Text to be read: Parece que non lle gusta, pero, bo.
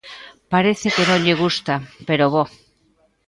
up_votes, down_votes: 0, 2